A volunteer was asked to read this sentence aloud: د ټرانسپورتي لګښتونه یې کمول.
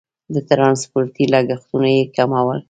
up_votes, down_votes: 1, 2